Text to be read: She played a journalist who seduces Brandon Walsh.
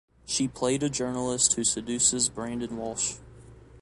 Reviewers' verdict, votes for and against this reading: accepted, 2, 0